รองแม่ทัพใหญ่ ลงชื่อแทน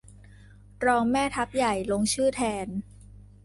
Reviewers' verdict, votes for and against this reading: accepted, 2, 0